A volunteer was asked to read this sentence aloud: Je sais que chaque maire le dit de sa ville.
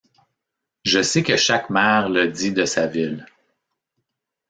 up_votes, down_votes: 2, 1